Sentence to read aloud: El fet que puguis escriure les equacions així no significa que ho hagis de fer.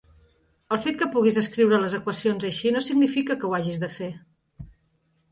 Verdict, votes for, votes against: accepted, 3, 0